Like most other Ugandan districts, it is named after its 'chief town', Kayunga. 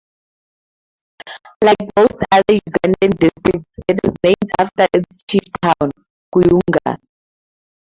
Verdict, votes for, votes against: rejected, 0, 2